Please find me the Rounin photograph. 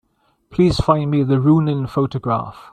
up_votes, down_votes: 2, 0